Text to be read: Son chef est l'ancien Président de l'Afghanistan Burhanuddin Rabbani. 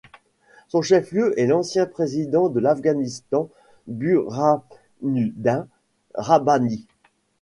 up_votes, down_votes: 0, 2